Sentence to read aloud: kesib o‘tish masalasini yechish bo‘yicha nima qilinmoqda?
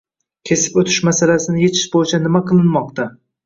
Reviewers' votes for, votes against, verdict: 1, 2, rejected